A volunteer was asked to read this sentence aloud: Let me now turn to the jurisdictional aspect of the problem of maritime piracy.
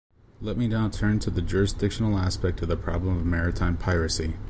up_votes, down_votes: 2, 0